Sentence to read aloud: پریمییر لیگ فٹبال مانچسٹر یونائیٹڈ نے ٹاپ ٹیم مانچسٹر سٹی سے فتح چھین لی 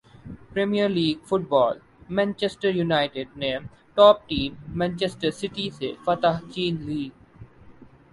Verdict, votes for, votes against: accepted, 2, 0